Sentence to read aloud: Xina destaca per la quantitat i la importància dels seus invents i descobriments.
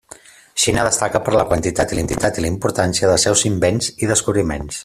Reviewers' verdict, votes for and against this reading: rejected, 0, 2